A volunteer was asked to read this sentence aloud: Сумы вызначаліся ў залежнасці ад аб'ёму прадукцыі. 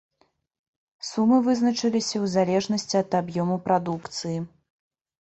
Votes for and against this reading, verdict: 0, 2, rejected